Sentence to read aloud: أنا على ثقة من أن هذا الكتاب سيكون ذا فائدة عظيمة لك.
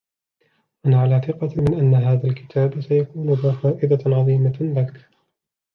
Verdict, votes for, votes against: accepted, 2, 0